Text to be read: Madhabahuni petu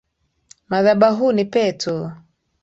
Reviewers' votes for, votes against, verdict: 2, 0, accepted